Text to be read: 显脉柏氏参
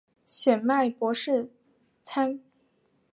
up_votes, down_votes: 3, 0